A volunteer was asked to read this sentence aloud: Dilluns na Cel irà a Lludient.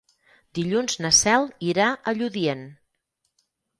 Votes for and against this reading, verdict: 6, 0, accepted